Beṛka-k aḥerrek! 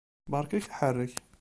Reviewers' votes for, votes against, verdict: 0, 2, rejected